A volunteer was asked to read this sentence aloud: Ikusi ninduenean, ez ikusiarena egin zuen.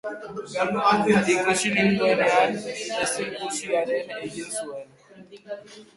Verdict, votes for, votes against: rejected, 0, 3